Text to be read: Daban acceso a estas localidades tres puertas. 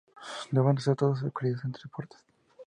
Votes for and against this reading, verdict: 0, 2, rejected